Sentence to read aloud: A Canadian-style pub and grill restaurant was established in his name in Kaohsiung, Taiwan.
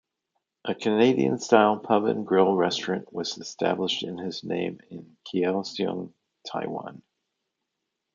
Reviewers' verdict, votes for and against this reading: accepted, 2, 0